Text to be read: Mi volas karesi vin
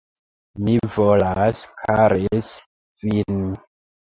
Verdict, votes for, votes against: rejected, 1, 2